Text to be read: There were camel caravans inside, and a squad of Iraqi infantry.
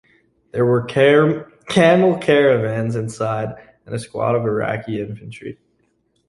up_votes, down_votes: 1, 2